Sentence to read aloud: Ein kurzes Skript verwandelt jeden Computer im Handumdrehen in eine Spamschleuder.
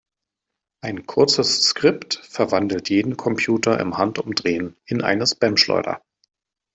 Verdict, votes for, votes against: accepted, 2, 0